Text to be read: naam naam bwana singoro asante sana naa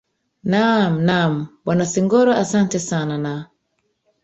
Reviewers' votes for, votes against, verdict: 1, 2, rejected